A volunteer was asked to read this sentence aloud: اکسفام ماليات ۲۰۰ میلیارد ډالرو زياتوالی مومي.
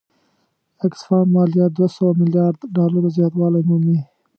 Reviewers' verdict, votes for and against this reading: rejected, 0, 2